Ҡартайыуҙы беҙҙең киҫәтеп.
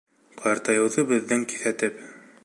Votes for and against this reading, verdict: 3, 1, accepted